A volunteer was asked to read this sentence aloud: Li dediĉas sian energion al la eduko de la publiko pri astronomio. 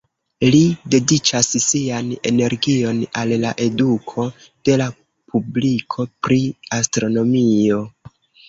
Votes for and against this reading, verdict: 1, 2, rejected